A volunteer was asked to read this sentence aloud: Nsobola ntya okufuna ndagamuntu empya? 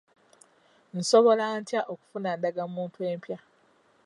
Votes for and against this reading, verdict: 2, 0, accepted